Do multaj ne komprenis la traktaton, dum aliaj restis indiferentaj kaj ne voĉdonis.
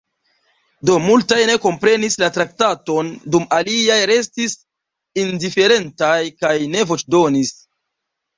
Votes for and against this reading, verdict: 2, 0, accepted